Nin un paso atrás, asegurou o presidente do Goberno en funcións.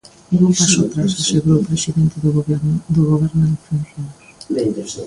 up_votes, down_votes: 0, 2